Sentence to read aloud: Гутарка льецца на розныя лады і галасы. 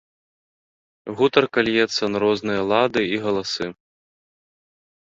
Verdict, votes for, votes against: rejected, 0, 2